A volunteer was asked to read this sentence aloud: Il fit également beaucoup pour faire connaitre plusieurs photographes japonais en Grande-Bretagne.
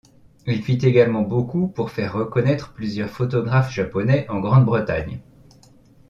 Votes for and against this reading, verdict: 1, 2, rejected